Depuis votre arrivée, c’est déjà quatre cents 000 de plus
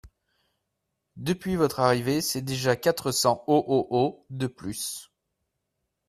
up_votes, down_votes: 0, 2